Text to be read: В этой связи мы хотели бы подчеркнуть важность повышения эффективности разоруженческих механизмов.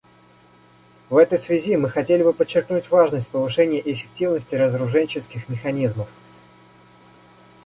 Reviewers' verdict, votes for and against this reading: accepted, 2, 0